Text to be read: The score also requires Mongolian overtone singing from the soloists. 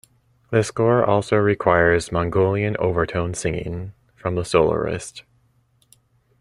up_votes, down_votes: 0, 2